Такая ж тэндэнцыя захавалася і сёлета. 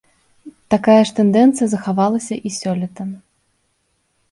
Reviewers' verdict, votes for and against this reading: accepted, 2, 0